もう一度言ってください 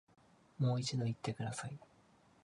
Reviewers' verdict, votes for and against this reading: accepted, 3, 0